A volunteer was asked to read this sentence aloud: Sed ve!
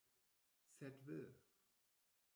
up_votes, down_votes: 0, 2